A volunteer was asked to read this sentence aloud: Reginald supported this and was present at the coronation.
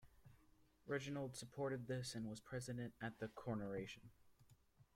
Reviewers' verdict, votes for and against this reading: rejected, 0, 2